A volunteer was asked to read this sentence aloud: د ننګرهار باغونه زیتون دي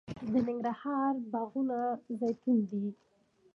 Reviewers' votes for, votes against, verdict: 3, 2, accepted